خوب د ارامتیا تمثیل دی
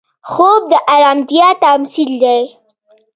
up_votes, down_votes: 1, 2